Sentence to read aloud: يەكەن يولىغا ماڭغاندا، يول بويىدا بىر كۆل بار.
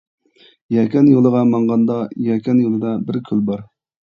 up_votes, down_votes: 0, 2